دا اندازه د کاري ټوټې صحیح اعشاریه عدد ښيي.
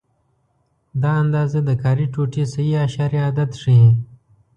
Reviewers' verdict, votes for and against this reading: accepted, 2, 0